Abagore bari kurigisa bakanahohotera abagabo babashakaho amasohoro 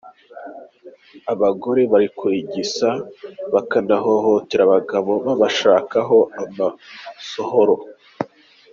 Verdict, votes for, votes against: accepted, 2, 0